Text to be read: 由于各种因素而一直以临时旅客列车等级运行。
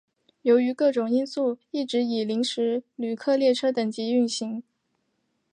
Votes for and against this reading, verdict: 2, 0, accepted